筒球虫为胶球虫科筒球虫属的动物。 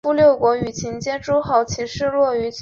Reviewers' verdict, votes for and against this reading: rejected, 0, 3